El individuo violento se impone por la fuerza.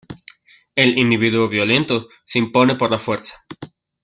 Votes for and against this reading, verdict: 2, 0, accepted